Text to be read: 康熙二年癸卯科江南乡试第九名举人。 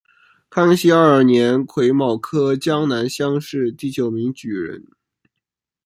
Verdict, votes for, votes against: accepted, 2, 0